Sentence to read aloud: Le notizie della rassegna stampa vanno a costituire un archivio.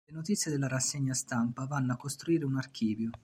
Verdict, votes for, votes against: rejected, 1, 2